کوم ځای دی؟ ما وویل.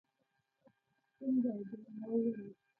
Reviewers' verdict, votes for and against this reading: rejected, 0, 2